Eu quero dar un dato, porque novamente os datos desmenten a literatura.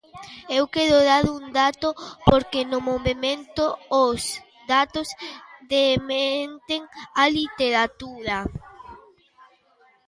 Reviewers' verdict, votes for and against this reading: rejected, 0, 2